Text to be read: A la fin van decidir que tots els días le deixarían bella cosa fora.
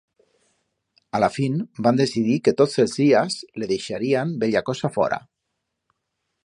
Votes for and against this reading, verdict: 2, 0, accepted